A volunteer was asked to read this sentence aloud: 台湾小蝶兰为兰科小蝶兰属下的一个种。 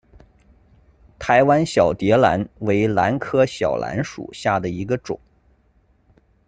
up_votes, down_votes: 1, 2